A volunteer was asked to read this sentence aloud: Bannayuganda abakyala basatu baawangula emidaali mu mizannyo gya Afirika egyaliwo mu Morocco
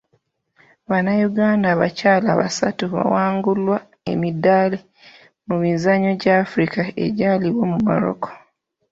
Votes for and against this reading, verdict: 1, 2, rejected